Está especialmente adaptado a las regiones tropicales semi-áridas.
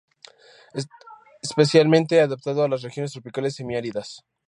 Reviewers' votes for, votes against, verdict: 0, 4, rejected